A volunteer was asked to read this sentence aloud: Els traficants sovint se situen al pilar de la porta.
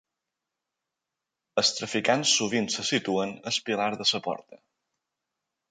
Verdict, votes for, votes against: rejected, 1, 2